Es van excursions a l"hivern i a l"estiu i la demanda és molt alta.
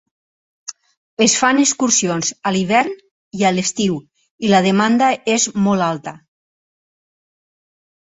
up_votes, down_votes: 2, 4